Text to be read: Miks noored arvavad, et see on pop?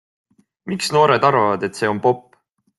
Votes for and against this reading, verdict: 2, 0, accepted